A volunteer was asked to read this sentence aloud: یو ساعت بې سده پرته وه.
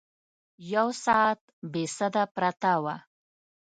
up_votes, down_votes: 2, 0